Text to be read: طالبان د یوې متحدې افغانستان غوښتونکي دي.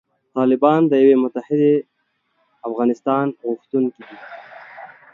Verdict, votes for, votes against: rejected, 1, 2